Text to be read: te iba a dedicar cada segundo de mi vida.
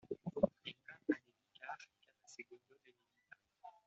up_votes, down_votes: 2, 0